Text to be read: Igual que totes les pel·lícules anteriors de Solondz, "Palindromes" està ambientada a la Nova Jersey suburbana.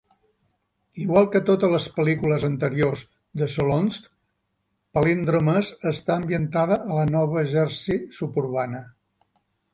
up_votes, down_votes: 4, 0